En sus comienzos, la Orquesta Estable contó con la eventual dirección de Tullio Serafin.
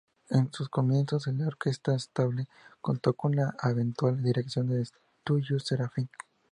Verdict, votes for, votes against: rejected, 0, 4